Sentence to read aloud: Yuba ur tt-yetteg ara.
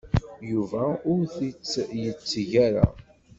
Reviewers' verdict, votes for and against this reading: rejected, 1, 2